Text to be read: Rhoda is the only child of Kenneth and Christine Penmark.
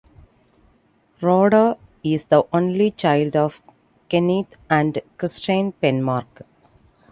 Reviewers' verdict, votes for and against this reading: rejected, 1, 2